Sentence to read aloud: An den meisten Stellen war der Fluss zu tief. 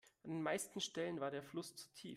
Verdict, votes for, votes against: rejected, 1, 2